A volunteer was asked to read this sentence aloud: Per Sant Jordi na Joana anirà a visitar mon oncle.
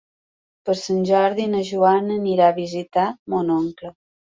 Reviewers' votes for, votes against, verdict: 3, 0, accepted